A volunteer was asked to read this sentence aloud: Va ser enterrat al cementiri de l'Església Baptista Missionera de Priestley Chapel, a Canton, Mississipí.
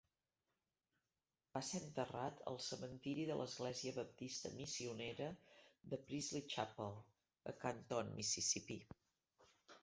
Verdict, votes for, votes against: rejected, 0, 2